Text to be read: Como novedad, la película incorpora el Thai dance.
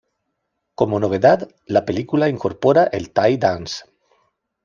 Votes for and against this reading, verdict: 2, 0, accepted